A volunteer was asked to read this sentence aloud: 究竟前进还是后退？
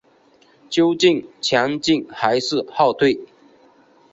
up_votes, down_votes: 2, 0